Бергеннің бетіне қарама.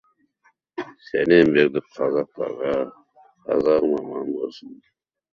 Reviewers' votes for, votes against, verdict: 1, 2, rejected